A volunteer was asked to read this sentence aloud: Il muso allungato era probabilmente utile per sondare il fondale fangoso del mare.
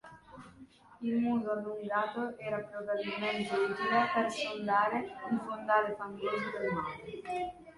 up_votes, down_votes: 2, 1